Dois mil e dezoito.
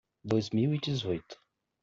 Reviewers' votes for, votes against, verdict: 2, 0, accepted